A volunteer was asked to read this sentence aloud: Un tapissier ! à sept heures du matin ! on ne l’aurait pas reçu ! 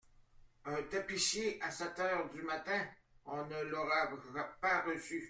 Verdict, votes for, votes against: rejected, 0, 2